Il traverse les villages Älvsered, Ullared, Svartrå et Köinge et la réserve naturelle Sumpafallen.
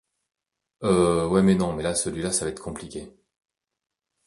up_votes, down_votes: 0, 2